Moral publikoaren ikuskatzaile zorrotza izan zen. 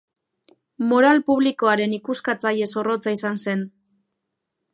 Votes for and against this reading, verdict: 2, 0, accepted